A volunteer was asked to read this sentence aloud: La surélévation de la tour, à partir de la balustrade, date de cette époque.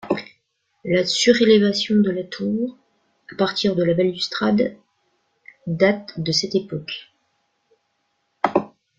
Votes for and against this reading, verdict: 2, 0, accepted